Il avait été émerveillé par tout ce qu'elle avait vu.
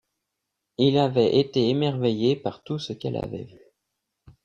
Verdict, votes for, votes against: accepted, 2, 1